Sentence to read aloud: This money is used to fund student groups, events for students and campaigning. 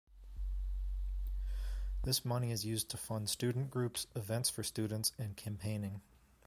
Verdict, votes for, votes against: accepted, 2, 0